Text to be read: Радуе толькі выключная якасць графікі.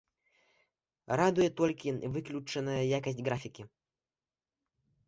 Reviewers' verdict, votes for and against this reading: rejected, 1, 2